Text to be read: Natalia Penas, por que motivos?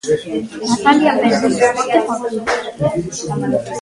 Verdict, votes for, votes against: rejected, 0, 2